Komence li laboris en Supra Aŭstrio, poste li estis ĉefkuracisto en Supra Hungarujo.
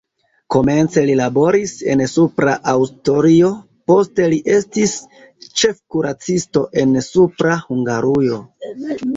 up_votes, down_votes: 0, 2